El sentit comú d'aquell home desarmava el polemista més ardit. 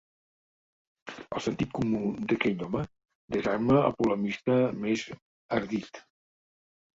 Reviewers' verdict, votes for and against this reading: rejected, 0, 2